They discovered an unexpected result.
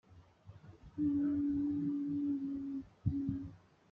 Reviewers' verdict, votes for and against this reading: rejected, 0, 2